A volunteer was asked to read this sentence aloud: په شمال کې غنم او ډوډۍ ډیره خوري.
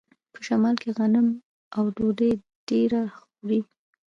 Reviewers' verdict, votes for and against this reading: accepted, 2, 0